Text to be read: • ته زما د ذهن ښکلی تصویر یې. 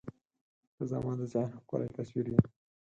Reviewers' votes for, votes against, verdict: 2, 4, rejected